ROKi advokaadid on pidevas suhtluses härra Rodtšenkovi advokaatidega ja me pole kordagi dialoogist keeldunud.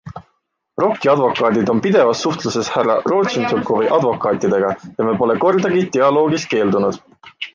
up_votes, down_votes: 2, 0